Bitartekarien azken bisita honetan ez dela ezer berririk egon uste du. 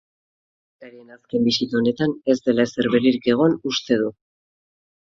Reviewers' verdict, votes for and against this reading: rejected, 0, 2